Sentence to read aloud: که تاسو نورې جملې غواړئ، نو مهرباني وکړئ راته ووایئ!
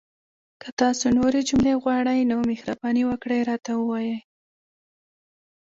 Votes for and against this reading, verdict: 0, 2, rejected